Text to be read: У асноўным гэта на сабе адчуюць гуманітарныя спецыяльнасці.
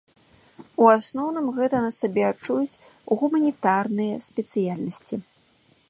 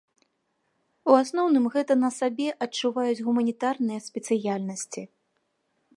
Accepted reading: first